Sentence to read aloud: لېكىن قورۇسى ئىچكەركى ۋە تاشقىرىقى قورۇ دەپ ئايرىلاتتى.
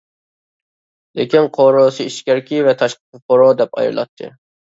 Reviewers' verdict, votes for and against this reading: rejected, 1, 2